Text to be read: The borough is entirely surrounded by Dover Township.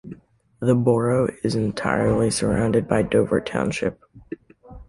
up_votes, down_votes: 1, 2